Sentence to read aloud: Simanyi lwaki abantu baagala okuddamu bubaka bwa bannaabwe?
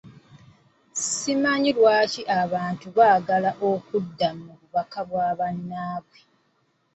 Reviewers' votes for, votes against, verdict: 2, 0, accepted